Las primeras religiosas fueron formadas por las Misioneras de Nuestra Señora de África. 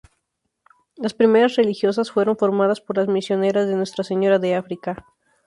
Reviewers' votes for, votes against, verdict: 2, 2, rejected